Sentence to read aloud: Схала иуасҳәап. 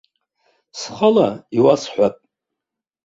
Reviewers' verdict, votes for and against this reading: accepted, 2, 1